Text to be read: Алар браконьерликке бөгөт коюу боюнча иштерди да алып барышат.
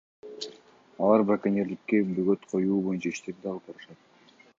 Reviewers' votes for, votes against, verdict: 2, 0, accepted